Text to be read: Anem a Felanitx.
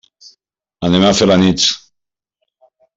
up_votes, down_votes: 2, 0